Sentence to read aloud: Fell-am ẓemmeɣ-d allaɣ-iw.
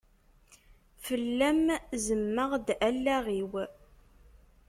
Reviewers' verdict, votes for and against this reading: rejected, 1, 2